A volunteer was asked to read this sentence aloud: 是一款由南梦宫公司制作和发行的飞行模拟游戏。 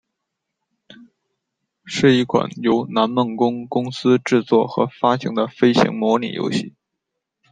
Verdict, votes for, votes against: accepted, 2, 0